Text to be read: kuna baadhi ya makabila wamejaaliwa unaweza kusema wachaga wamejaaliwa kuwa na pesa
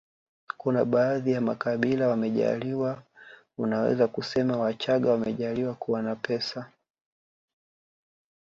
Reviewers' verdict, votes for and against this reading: accepted, 2, 0